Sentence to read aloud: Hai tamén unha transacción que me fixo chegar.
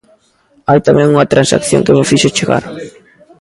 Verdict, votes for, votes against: accepted, 2, 1